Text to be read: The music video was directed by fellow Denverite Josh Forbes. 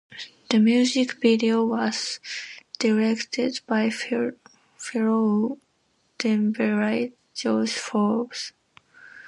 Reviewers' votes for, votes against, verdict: 2, 0, accepted